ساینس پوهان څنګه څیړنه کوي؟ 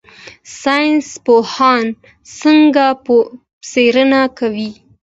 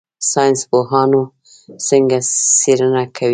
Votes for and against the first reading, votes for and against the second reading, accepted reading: 2, 0, 0, 2, first